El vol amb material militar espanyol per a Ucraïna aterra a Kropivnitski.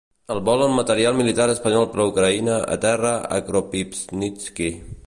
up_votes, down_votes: 2, 0